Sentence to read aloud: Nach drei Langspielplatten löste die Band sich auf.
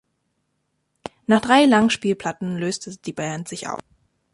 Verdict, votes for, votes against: rejected, 1, 2